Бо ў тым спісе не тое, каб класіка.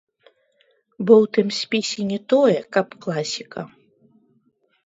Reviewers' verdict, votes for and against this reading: rejected, 0, 2